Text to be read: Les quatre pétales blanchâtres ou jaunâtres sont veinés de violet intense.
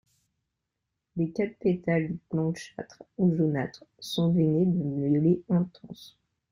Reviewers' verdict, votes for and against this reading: rejected, 1, 2